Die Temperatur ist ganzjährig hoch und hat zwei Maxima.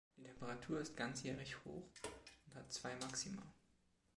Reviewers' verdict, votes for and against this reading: rejected, 1, 2